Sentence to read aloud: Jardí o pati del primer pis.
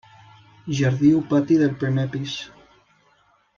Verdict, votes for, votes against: accepted, 2, 0